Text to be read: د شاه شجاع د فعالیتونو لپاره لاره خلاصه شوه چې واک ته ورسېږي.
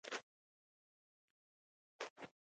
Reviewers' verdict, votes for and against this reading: rejected, 1, 2